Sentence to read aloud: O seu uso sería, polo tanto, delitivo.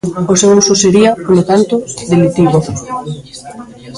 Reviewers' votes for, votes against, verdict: 0, 2, rejected